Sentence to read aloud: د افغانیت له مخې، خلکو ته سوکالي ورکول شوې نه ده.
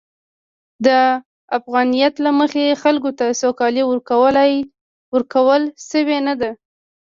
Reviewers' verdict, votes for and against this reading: rejected, 0, 2